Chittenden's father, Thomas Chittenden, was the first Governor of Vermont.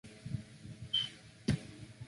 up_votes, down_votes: 0, 2